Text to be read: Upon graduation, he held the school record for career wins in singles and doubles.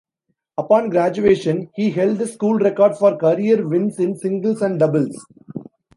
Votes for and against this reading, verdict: 2, 0, accepted